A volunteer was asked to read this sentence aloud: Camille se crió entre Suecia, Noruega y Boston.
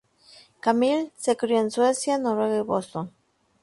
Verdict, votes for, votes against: rejected, 0, 2